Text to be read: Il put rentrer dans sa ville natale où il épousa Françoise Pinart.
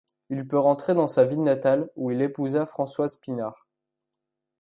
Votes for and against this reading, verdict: 1, 2, rejected